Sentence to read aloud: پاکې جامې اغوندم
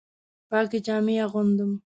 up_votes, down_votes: 2, 0